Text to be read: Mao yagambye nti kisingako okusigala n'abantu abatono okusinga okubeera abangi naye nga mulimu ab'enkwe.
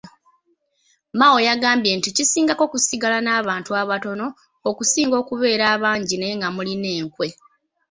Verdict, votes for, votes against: rejected, 0, 3